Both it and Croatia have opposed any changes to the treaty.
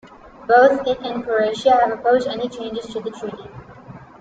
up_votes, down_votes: 2, 0